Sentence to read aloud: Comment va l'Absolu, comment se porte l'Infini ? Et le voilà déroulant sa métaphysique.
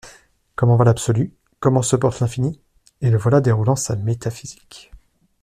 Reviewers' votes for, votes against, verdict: 2, 0, accepted